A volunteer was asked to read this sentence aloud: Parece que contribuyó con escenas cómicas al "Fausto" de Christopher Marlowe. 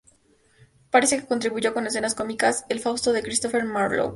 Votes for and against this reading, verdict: 2, 0, accepted